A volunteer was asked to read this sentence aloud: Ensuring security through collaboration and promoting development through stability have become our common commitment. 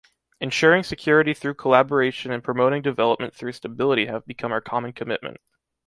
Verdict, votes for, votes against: accepted, 2, 0